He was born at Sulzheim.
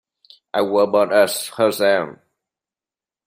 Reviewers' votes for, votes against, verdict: 0, 2, rejected